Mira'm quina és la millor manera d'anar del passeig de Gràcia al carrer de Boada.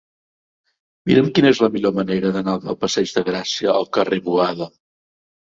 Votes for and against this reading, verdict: 0, 2, rejected